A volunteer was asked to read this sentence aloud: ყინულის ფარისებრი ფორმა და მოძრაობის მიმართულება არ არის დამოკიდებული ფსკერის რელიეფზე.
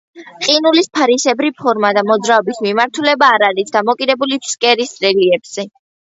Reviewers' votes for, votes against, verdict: 2, 0, accepted